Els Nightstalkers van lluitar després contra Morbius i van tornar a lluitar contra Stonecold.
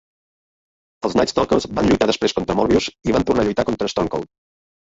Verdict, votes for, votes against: rejected, 1, 2